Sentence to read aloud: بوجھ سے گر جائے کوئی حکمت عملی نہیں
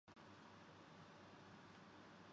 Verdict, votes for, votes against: rejected, 0, 10